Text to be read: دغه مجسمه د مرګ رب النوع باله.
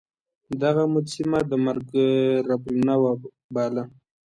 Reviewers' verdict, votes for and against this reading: accepted, 2, 0